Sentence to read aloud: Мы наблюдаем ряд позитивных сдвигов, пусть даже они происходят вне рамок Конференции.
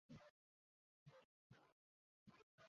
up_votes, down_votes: 0, 2